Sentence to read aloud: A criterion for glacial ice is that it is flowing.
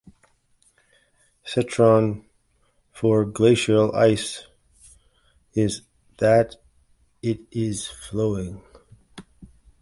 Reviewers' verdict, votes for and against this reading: rejected, 1, 2